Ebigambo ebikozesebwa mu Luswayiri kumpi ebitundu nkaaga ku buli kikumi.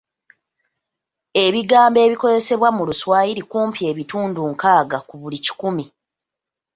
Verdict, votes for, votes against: accepted, 2, 0